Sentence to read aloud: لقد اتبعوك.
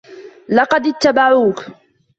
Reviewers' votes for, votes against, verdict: 2, 0, accepted